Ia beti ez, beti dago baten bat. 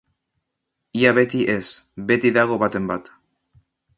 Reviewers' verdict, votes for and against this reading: accepted, 2, 0